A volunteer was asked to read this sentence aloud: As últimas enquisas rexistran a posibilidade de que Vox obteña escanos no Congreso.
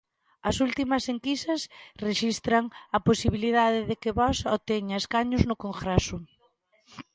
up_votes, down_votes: 2, 1